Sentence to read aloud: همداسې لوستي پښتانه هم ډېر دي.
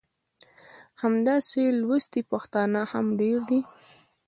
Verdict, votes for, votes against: rejected, 0, 2